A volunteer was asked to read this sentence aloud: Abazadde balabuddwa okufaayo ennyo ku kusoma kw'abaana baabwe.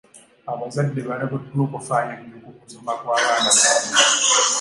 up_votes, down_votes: 1, 2